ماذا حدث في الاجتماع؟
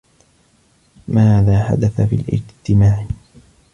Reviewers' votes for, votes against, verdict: 2, 0, accepted